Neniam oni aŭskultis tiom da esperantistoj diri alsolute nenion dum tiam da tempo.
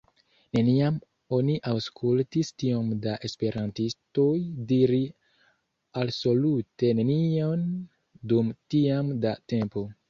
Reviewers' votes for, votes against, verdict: 2, 0, accepted